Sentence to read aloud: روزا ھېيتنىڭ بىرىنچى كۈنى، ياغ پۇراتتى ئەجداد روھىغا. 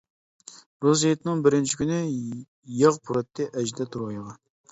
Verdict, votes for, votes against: rejected, 0, 2